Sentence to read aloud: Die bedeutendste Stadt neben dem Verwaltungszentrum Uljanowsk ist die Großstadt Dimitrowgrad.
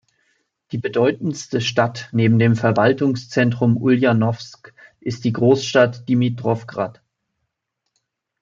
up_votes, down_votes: 2, 0